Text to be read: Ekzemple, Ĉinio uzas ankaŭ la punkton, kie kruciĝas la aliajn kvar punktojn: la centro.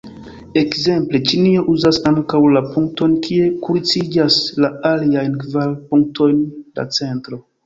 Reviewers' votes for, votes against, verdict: 0, 2, rejected